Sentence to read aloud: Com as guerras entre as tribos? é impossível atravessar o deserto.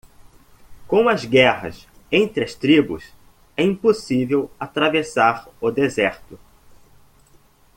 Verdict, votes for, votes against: accepted, 2, 0